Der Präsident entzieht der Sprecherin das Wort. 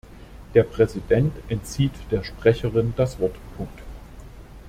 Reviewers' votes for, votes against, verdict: 0, 2, rejected